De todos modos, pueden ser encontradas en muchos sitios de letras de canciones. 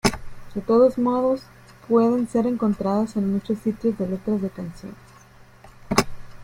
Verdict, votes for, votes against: rejected, 0, 2